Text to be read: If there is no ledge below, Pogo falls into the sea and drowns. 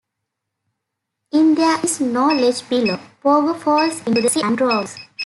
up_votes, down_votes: 0, 2